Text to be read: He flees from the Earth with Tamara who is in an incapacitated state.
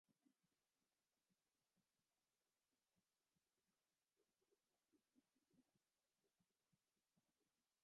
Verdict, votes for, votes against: rejected, 0, 2